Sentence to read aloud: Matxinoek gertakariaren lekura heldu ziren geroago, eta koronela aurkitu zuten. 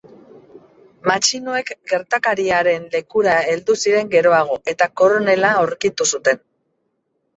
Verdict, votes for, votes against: rejected, 1, 2